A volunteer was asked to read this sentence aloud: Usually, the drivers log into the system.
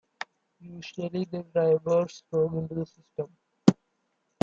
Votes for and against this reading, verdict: 2, 1, accepted